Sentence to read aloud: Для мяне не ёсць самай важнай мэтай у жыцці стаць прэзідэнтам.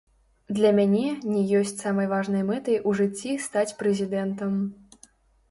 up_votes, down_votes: 0, 3